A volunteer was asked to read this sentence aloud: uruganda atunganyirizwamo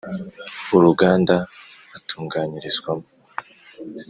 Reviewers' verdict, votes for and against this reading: accepted, 2, 0